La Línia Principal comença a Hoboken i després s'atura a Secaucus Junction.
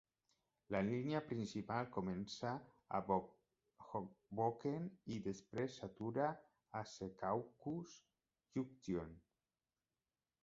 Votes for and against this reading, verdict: 1, 2, rejected